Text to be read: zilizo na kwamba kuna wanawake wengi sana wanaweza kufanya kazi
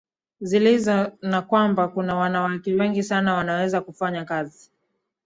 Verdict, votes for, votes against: accepted, 2, 0